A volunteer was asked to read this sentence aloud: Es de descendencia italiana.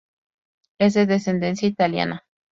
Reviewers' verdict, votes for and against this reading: accepted, 2, 0